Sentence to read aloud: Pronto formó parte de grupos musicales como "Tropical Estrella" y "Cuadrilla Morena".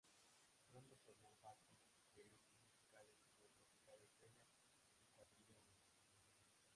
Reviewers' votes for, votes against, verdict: 0, 3, rejected